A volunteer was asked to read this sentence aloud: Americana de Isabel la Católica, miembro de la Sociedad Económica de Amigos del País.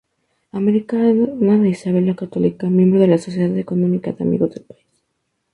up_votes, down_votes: 0, 2